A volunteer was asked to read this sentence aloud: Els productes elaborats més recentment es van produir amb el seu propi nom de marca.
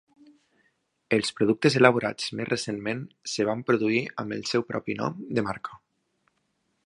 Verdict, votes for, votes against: rejected, 0, 2